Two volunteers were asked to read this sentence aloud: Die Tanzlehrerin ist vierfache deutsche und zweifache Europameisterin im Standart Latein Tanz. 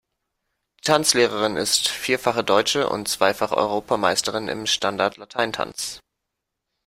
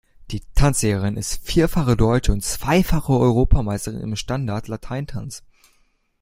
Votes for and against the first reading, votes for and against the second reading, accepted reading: 1, 2, 2, 1, second